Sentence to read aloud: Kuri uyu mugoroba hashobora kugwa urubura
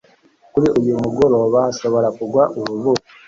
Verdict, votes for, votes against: accepted, 2, 1